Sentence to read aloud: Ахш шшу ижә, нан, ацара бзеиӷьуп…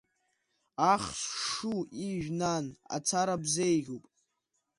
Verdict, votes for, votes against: accepted, 2, 0